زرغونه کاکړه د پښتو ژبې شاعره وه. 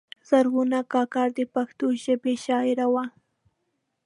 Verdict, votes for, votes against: accepted, 2, 0